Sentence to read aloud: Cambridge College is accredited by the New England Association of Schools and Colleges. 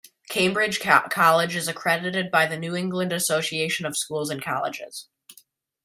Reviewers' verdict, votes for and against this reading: rejected, 1, 2